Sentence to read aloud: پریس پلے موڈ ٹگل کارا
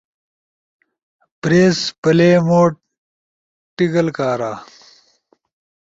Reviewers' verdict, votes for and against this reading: accepted, 2, 0